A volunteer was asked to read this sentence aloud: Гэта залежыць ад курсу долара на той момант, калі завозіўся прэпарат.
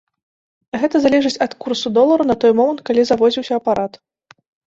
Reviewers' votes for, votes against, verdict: 1, 2, rejected